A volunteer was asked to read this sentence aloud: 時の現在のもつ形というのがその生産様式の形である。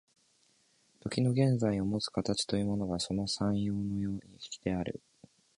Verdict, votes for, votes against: rejected, 1, 2